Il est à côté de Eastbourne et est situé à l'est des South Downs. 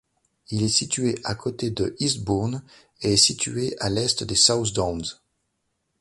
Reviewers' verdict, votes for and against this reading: rejected, 0, 2